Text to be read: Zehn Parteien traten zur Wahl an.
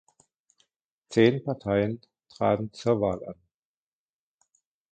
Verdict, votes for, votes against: accepted, 2, 1